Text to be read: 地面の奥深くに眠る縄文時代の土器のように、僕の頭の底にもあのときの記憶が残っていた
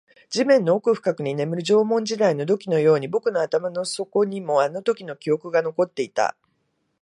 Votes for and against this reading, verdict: 2, 0, accepted